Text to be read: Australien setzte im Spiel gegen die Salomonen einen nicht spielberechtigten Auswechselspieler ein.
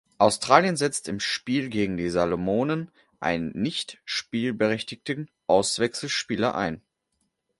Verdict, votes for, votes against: accepted, 2, 0